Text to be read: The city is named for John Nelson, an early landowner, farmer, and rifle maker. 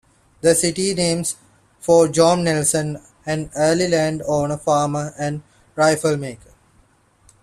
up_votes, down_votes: 0, 2